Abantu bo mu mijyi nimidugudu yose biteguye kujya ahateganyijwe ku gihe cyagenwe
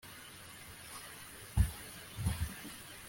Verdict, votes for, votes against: rejected, 0, 2